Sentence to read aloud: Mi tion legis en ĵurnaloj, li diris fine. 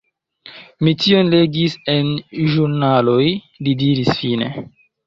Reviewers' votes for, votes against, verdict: 2, 1, accepted